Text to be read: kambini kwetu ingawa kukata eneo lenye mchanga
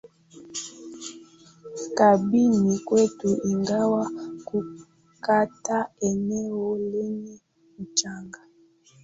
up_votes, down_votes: 2, 1